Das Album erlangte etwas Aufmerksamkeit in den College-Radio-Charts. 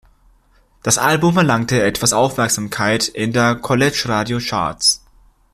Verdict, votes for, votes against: rejected, 0, 2